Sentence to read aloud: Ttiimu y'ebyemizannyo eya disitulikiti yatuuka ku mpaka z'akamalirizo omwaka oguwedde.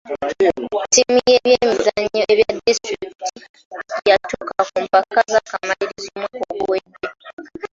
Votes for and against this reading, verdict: 0, 3, rejected